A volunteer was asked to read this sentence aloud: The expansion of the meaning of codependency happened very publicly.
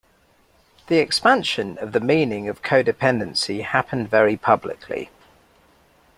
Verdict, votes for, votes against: accepted, 2, 0